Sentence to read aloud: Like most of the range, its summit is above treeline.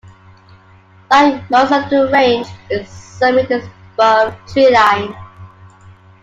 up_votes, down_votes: 2, 1